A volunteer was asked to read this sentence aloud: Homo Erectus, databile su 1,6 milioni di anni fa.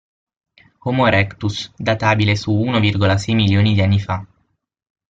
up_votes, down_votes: 0, 2